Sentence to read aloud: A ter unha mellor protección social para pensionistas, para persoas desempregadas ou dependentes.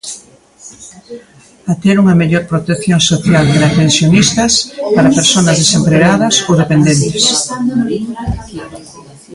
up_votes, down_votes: 0, 2